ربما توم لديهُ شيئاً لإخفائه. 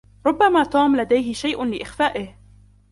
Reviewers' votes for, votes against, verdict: 1, 2, rejected